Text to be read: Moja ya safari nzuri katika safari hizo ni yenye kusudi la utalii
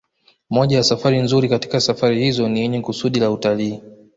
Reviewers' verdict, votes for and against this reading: accepted, 2, 1